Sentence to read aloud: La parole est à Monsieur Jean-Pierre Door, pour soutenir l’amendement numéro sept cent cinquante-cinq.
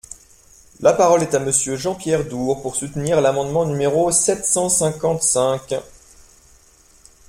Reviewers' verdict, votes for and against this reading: accepted, 2, 0